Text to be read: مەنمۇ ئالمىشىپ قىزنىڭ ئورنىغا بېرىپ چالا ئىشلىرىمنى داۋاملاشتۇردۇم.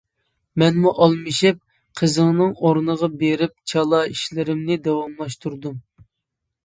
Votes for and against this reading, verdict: 0, 2, rejected